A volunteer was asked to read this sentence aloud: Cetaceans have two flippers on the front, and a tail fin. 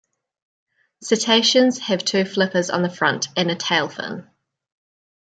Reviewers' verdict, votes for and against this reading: accepted, 2, 0